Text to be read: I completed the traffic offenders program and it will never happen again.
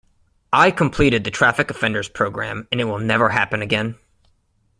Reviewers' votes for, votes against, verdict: 3, 0, accepted